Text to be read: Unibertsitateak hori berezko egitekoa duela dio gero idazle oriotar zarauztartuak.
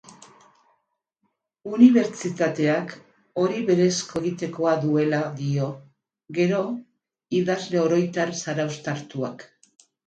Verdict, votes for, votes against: rejected, 0, 2